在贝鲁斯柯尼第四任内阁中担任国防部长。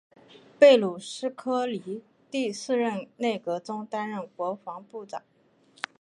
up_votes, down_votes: 3, 0